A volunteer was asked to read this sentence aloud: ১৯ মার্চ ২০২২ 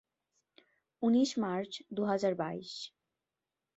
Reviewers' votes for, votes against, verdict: 0, 2, rejected